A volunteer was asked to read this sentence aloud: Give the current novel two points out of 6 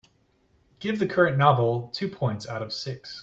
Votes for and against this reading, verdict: 0, 2, rejected